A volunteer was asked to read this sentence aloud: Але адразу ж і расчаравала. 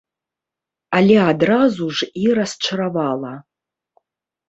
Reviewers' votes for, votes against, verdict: 1, 2, rejected